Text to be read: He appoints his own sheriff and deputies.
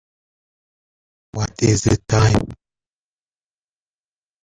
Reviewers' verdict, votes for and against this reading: rejected, 0, 2